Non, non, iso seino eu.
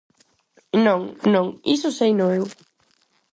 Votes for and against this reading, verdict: 4, 0, accepted